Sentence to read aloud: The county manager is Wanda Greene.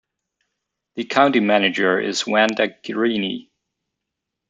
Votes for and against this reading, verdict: 0, 2, rejected